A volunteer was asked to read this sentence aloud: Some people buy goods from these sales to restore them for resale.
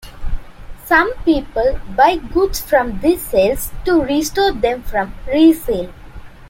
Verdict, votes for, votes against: accepted, 2, 1